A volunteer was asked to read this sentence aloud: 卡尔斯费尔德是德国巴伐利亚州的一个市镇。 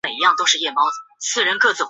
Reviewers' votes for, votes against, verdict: 0, 2, rejected